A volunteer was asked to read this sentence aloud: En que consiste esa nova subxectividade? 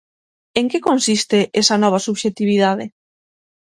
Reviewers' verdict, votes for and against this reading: accepted, 9, 0